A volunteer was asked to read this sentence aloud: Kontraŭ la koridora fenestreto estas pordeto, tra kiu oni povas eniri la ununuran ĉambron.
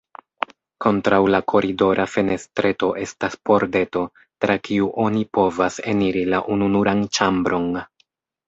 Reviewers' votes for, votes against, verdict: 2, 1, accepted